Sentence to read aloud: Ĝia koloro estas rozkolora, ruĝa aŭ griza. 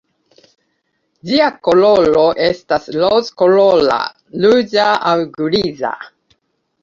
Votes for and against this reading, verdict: 0, 2, rejected